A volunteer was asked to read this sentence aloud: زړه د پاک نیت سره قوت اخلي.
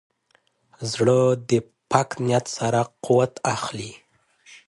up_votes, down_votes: 3, 0